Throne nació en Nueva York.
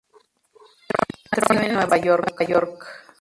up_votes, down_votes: 0, 2